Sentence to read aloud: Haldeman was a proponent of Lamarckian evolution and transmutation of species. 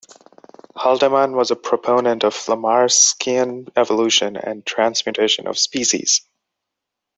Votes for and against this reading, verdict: 1, 2, rejected